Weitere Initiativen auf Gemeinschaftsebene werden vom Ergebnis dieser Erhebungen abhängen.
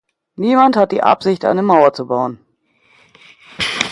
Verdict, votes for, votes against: rejected, 0, 2